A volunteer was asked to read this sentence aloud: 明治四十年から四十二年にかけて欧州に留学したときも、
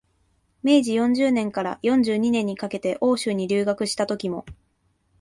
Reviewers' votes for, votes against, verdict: 2, 0, accepted